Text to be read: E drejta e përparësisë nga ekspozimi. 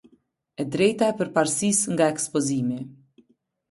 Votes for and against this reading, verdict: 2, 0, accepted